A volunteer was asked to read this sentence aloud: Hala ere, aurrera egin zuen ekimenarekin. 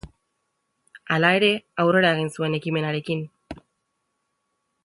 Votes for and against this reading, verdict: 3, 0, accepted